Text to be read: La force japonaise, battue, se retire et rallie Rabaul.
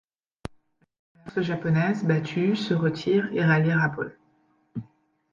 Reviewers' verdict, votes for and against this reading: rejected, 0, 2